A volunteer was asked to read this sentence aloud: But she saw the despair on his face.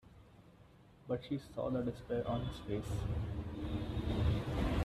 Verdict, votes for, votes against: rejected, 1, 2